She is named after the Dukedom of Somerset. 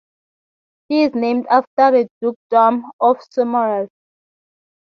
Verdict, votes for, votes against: accepted, 6, 3